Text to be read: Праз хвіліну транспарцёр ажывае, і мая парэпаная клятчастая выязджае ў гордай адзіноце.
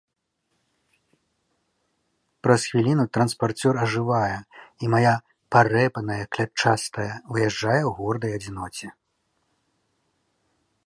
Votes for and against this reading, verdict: 2, 0, accepted